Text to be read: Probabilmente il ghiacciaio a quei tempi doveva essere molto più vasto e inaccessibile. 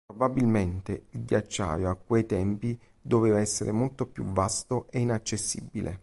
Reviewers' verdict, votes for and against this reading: accepted, 3, 0